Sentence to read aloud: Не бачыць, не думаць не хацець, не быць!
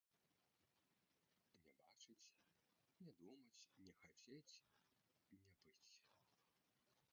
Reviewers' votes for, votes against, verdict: 1, 2, rejected